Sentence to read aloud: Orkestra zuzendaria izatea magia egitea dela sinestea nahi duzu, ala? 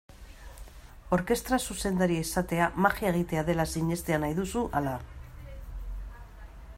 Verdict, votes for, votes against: accepted, 3, 0